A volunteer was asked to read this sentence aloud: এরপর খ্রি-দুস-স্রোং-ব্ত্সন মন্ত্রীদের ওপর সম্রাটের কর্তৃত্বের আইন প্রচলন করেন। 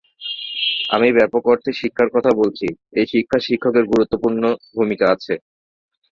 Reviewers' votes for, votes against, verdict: 0, 2, rejected